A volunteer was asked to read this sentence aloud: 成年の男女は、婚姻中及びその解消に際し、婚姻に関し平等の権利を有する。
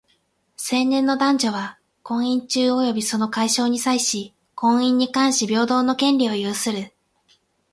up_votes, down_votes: 8, 0